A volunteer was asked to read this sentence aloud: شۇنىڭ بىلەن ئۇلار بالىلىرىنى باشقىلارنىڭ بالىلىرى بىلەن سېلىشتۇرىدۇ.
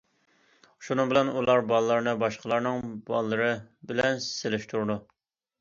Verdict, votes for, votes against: accepted, 2, 0